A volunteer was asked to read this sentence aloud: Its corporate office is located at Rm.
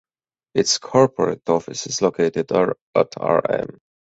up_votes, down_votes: 2, 4